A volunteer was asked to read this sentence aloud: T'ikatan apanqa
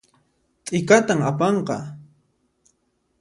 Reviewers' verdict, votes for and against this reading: accepted, 2, 0